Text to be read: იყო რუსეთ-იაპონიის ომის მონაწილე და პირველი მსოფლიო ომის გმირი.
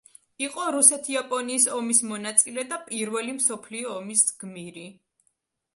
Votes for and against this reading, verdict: 2, 0, accepted